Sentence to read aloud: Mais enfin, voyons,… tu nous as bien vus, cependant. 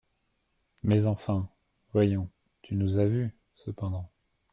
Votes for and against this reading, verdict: 1, 2, rejected